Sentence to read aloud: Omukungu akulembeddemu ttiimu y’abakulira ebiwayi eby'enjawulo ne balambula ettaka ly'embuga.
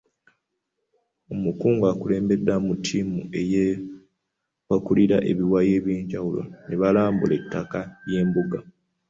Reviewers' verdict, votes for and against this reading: rejected, 1, 2